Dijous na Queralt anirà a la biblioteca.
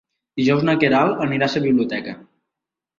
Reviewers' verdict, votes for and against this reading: rejected, 1, 2